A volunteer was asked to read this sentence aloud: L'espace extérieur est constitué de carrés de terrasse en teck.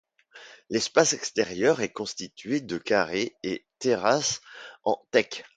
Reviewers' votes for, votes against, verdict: 1, 2, rejected